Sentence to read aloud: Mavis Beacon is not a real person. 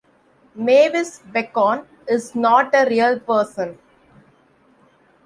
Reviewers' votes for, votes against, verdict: 2, 1, accepted